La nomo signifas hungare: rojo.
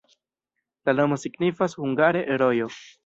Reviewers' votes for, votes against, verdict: 2, 0, accepted